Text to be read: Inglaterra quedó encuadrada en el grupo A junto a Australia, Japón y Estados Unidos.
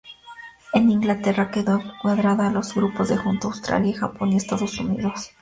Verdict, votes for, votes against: rejected, 0, 2